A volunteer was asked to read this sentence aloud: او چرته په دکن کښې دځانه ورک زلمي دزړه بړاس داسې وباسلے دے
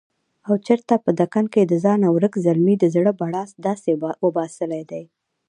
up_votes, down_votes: 1, 2